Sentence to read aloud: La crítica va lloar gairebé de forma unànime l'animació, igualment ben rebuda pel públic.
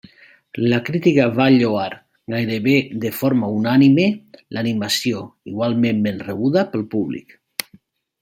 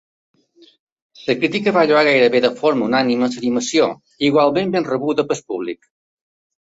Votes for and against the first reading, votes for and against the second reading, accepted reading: 2, 0, 1, 3, first